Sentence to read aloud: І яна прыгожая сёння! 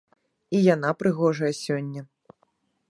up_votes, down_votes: 2, 1